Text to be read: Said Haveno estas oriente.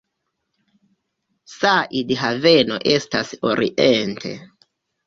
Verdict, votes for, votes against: accepted, 3, 1